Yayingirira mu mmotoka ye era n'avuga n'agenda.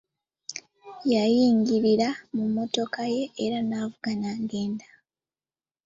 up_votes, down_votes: 2, 0